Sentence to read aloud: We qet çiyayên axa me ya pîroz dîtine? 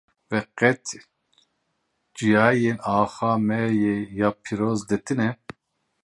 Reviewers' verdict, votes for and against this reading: rejected, 0, 2